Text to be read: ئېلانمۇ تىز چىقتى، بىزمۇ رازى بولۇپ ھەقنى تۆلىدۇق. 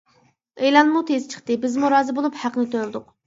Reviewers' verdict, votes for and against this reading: rejected, 1, 2